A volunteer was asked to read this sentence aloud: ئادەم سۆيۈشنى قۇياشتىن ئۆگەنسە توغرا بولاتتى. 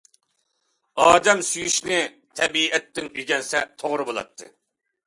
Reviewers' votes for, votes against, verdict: 0, 2, rejected